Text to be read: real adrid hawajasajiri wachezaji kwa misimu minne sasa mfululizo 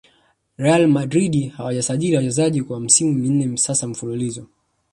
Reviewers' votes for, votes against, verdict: 2, 0, accepted